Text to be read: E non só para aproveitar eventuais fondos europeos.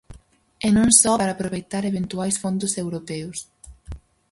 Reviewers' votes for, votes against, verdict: 2, 2, rejected